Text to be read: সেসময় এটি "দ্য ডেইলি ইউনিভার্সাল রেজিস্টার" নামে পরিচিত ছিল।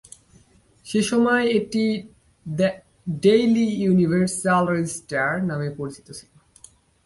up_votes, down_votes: 1, 2